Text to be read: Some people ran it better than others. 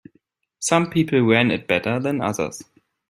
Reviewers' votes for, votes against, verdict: 2, 0, accepted